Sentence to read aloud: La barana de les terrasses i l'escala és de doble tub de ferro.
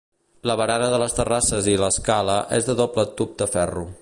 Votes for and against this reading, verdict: 3, 1, accepted